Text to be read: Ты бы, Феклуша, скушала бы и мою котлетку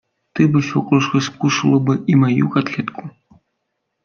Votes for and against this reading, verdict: 1, 2, rejected